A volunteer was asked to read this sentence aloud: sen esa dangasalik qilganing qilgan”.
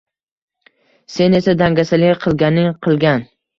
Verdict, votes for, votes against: rejected, 1, 2